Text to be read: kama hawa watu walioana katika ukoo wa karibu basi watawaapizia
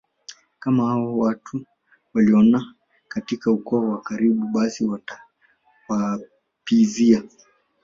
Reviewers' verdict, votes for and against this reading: accepted, 3, 2